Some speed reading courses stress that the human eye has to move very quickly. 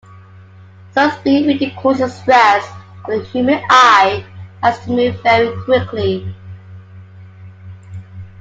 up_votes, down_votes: 2, 1